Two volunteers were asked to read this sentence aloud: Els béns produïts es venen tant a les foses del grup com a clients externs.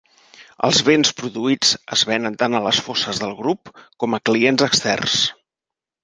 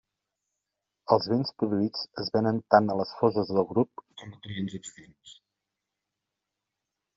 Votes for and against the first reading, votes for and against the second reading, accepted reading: 4, 0, 1, 2, first